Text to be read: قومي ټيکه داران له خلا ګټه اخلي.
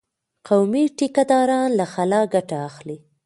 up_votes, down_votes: 1, 2